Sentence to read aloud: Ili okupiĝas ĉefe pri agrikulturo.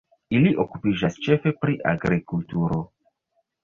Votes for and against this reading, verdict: 2, 0, accepted